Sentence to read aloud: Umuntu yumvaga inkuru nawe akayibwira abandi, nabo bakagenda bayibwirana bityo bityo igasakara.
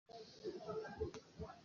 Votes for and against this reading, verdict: 0, 2, rejected